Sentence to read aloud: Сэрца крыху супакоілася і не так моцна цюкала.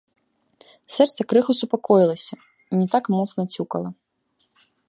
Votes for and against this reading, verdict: 2, 0, accepted